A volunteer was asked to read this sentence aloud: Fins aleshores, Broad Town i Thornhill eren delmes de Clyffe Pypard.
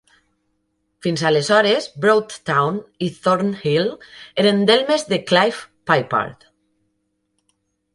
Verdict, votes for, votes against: accepted, 2, 0